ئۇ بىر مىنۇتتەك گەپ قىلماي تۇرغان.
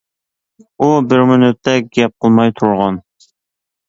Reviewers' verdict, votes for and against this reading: accepted, 2, 0